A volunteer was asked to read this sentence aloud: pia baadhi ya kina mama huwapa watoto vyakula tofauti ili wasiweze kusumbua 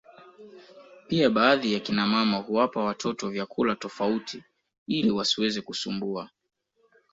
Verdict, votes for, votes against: accepted, 2, 0